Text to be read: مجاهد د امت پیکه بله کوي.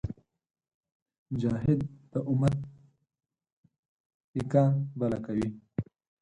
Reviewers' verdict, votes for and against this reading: accepted, 4, 2